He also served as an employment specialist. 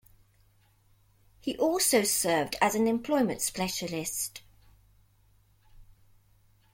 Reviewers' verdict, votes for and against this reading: accepted, 2, 1